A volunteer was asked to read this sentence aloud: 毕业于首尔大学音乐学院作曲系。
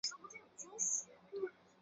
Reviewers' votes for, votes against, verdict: 2, 0, accepted